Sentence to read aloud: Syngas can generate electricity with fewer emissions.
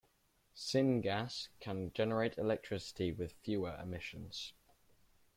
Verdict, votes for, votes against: accepted, 3, 0